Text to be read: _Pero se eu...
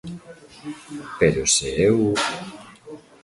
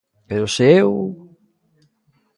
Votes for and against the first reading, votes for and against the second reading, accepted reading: 1, 2, 2, 0, second